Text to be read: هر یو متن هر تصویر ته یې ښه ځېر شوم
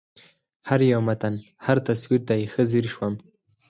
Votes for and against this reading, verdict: 2, 4, rejected